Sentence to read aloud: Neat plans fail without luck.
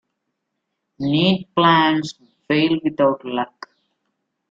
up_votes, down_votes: 1, 2